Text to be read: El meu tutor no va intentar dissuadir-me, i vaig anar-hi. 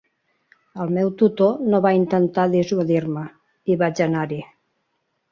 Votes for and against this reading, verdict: 2, 0, accepted